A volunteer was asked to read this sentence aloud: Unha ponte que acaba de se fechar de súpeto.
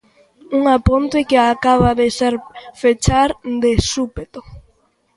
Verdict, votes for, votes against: rejected, 0, 3